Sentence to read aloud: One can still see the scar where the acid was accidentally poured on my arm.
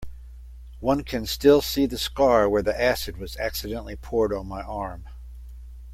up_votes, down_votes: 2, 0